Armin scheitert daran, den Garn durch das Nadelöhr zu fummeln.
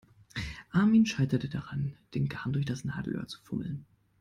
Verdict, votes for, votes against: rejected, 0, 2